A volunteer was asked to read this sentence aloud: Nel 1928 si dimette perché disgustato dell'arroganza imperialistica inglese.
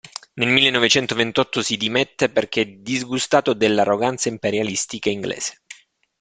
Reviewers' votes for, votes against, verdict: 0, 2, rejected